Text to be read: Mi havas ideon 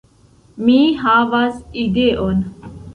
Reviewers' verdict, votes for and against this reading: rejected, 1, 2